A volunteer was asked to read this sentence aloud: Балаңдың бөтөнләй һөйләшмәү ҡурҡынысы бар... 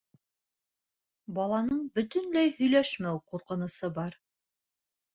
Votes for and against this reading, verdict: 0, 2, rejected